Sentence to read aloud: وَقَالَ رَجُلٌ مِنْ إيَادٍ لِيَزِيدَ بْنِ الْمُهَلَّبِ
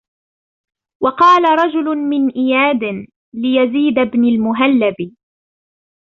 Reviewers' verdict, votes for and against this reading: accepted, 2, 0